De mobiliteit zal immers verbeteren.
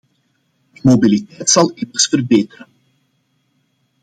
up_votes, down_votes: 0, 2